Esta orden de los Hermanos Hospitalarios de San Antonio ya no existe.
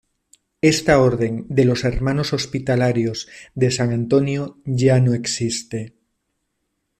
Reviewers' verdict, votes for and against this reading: accepted, 2, 0